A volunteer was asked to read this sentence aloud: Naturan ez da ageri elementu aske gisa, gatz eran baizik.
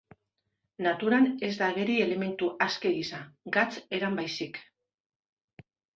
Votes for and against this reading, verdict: 2, 1, accepted